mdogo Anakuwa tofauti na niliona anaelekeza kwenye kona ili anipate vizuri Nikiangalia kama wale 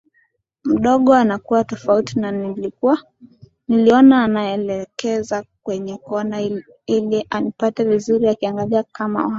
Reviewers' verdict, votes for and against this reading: rejected, 0, 2